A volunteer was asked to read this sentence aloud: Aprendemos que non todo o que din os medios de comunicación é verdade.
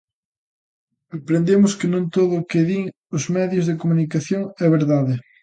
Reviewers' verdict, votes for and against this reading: accepted, 2, 0